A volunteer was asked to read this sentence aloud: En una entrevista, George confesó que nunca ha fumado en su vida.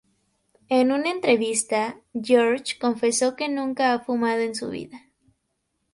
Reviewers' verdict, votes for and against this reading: rejected, 0, 2